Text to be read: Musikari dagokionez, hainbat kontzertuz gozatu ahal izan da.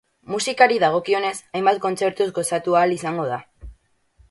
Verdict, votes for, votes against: rejected, 0, 8